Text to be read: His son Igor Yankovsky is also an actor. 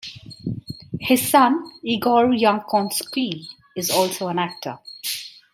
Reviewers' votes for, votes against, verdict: 2, 0, accepted